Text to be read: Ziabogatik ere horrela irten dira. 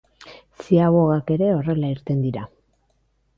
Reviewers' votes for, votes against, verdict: 1, 2, rejected